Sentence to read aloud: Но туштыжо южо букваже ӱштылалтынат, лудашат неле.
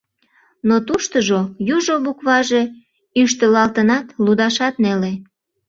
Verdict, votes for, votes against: accepted, 2, 0